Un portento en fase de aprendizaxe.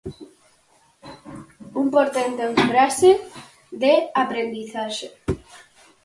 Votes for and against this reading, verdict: 4, 0, accepted